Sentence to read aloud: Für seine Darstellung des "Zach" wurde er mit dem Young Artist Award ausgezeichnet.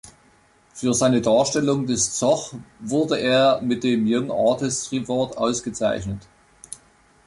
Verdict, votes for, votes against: rejected, 1, 3